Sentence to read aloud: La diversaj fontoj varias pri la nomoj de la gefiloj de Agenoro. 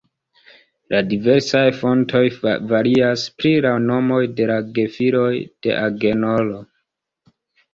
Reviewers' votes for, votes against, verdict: 2, 0, accepted